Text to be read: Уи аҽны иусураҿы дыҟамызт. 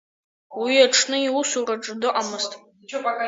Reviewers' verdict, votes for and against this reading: rejected, 1, 2